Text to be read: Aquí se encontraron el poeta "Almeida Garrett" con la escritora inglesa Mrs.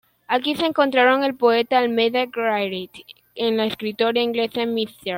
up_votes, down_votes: 1, 2